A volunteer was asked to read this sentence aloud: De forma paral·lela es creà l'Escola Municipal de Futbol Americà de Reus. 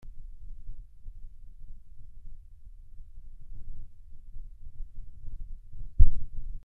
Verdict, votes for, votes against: rejected, 0, 2